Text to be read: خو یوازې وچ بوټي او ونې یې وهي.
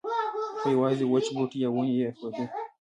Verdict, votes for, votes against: rejected, 1, 2